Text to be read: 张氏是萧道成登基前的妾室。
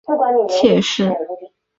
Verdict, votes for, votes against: rejected, 0, 3